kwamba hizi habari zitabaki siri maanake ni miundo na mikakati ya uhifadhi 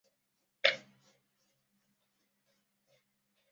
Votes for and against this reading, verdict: 0, 2, rejected